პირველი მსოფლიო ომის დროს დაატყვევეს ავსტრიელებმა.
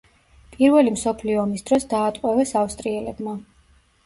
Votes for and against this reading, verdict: 2, 0, accepted